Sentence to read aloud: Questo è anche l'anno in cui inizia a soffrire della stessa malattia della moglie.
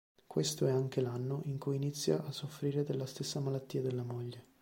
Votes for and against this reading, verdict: 2, 0, accepted